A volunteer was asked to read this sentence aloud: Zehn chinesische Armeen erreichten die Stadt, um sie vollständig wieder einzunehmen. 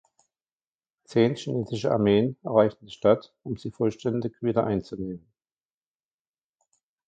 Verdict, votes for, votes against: rejected, 1, 2